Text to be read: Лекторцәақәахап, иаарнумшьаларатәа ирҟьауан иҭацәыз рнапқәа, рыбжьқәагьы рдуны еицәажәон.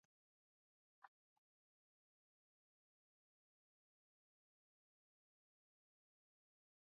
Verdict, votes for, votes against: rejected, 0, 2